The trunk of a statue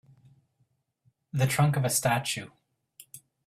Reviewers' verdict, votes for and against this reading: accepted, 2, 0